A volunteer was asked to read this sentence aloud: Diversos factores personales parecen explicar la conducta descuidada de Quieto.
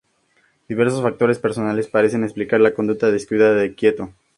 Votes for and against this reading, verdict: 2, 0, accepted